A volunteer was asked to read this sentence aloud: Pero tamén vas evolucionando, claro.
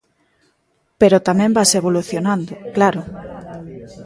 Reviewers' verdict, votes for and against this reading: rejected, 1, 2